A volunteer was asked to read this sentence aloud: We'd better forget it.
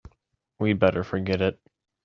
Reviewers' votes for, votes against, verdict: 2, 1, accepted